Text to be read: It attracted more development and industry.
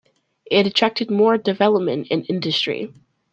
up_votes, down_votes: 2, 0